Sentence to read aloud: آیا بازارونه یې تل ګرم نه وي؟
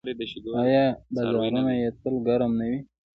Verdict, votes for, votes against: accepted, 2, 1